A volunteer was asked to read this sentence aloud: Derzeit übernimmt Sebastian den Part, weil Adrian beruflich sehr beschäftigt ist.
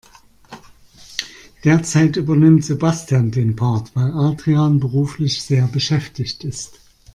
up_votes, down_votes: 2, 0